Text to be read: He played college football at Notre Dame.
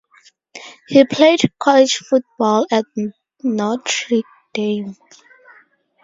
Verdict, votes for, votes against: rejected, 0, 4